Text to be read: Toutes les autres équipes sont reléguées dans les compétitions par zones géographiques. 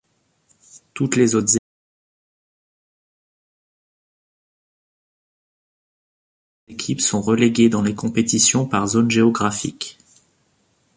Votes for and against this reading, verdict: 0, 2, rejected